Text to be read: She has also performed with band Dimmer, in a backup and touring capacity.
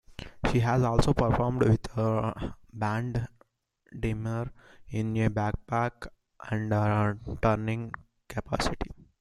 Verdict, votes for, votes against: rejected, 0, 2